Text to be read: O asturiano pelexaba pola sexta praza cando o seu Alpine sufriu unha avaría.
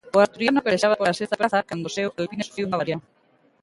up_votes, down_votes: 0, 2